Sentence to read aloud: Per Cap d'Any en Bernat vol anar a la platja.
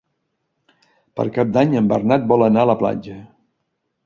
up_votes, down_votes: 3, 0